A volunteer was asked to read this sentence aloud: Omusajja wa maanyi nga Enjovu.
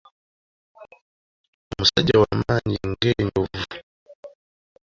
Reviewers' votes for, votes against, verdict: 1, 2, rejected